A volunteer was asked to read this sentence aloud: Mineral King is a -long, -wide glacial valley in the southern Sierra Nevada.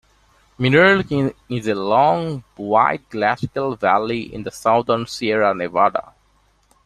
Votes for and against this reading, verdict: 0, 2, rejected